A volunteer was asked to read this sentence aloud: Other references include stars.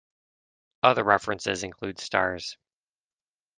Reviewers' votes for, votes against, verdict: 2, 0, accepted